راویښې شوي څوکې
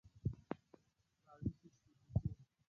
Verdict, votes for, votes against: rejected, 0, 6